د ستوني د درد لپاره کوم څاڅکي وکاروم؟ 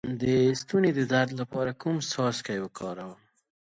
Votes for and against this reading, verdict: 1, 2, rejected